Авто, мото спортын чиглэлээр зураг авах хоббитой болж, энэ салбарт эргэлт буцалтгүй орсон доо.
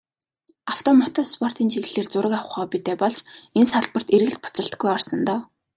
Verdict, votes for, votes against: accepted, 2, 0